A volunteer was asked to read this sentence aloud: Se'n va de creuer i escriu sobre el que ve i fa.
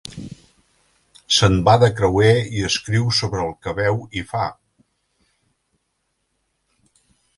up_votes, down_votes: 0, 2